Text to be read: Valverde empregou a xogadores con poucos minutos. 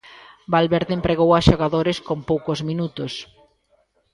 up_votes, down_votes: 0, 2